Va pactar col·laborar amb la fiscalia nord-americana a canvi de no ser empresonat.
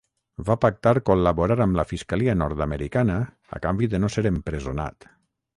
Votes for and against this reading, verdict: 3, 3, rejected